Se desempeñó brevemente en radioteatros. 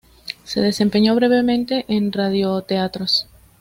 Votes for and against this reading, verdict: 2, 0, accepted